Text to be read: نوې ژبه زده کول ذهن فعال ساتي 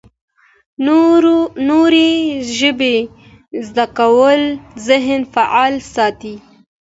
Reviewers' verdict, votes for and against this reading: accepted, 2, 0